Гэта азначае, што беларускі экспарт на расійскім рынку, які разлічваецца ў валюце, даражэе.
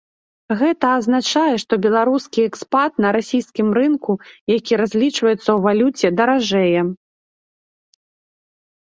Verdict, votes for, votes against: rejected, 0, 2